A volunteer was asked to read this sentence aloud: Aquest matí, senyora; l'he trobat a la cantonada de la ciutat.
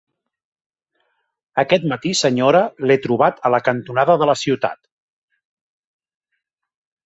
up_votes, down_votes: 1, 2